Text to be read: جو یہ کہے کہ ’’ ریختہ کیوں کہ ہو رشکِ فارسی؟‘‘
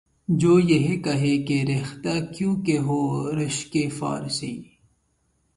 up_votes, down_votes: 6, 0